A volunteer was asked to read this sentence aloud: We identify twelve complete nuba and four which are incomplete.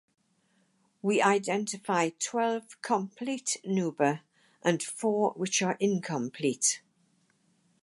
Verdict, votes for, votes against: accepted, 4, 0